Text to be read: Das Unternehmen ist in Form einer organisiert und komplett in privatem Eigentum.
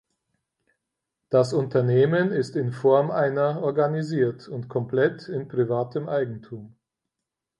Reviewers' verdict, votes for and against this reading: accepted, 4, 0